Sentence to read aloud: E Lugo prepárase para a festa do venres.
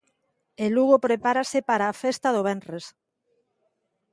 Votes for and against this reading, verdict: 2, 0, accepted